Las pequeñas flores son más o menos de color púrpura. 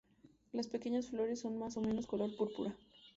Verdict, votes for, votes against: rejected, 0, 2